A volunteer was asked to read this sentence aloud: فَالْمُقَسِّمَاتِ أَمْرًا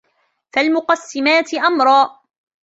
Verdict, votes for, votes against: accepted, 2, 1